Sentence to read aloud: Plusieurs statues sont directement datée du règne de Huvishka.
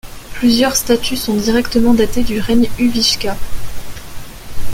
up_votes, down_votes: 1, 2